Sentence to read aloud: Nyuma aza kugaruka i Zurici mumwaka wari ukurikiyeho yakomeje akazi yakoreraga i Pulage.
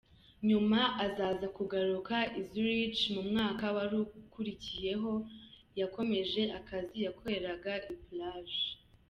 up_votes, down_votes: 0, 2